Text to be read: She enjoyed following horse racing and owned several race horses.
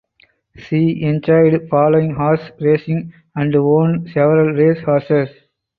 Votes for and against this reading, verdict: 0, 4, rejected